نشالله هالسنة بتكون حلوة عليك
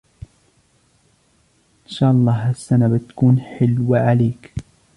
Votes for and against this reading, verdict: 1, 2, rejected